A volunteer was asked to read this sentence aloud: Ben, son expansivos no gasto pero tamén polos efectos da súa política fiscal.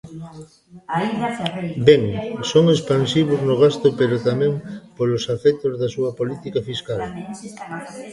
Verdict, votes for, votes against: rejected, 0, 2